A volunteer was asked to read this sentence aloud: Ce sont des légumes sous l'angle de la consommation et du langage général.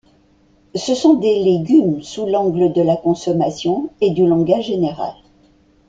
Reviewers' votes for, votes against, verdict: 2, 0, accepted